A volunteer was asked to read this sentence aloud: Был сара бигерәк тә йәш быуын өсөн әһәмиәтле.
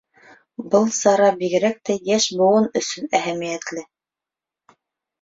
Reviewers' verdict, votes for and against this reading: accepted, 2, 1